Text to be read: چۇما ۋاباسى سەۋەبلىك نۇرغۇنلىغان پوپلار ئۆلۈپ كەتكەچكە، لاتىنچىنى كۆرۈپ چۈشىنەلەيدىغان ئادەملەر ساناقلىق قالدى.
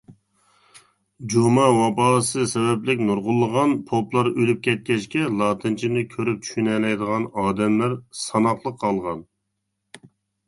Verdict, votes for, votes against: rejected, 1, 2